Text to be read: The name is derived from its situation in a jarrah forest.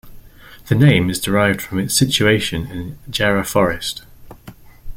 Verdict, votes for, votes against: rejected, 0, 3